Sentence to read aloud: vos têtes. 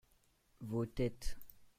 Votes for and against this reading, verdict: 2, 0, accepted